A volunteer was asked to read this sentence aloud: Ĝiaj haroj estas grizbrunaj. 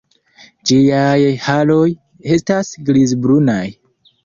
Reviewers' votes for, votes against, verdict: 1, 2, rejected